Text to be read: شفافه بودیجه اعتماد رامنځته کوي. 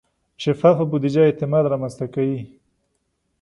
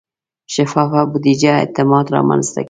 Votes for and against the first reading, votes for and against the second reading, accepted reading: 2, 0, 0, 2, first